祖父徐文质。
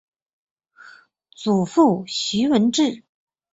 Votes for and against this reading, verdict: 2, 0, accepted